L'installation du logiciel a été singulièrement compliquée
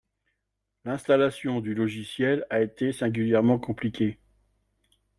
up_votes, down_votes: 2, 0